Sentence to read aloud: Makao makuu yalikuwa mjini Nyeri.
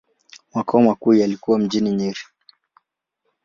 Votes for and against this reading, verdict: 2, 2, rejected